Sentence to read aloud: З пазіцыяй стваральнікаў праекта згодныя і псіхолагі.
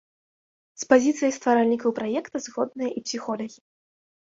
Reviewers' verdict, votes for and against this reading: rejected, 1, 2